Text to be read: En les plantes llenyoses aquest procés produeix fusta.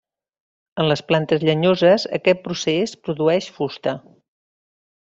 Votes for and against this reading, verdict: 1, 2, rejected